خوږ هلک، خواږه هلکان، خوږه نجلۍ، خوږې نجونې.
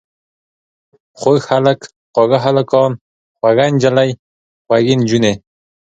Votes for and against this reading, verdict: 2, 0, accepted